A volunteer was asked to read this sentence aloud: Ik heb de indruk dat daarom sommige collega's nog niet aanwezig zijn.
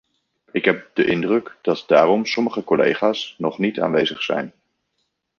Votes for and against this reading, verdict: 1, 2, rejected